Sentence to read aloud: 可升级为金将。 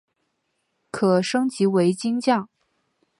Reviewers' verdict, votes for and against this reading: accepted, 2, 0